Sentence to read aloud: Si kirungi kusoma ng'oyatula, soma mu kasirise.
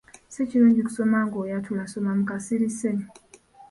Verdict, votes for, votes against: rejected, 1, 2